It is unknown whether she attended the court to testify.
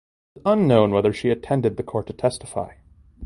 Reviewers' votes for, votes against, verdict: 1, 2, rejected